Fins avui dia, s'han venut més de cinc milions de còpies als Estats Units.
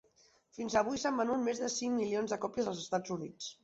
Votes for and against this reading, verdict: 2, 3, rejected